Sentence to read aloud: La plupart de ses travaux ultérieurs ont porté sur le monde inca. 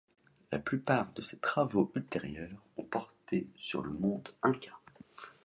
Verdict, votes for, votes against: accepted, 2, 0